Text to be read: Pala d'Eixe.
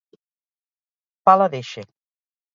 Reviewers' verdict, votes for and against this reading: accepted, 4, 0